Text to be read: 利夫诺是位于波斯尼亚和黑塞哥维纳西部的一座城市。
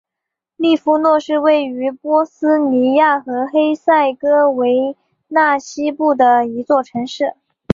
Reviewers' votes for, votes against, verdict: 2, 0, accepted